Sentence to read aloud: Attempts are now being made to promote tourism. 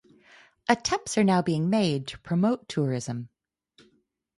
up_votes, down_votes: 4, 2